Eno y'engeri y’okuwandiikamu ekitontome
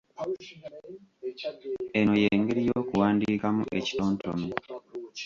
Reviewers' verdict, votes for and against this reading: rejected, 1, 2